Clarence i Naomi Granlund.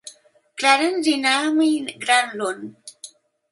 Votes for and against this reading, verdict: 2, 0, accepted